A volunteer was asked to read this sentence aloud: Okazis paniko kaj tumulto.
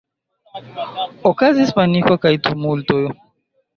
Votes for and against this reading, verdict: 2, 0, accepted